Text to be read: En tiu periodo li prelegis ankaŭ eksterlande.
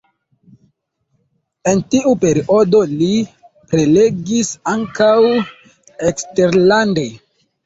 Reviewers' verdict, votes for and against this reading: accepted, 2, 0